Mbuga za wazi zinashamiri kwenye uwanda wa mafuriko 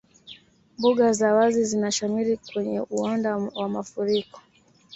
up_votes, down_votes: 3, 0